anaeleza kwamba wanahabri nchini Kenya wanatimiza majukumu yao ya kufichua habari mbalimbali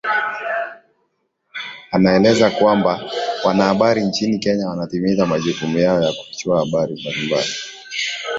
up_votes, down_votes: 3, 2